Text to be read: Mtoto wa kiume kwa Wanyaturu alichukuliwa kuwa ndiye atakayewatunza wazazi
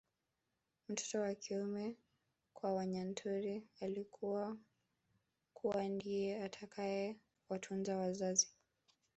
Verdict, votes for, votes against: rejected, 1, 2